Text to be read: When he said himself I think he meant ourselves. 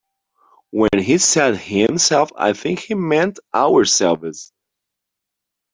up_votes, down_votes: 0, 2